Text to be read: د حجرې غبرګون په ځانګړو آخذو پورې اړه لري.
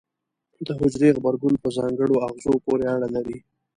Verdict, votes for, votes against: accepted, 2, 0